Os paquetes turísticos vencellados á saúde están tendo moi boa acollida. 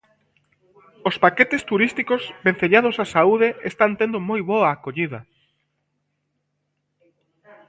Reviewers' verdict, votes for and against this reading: accepted, 3, 0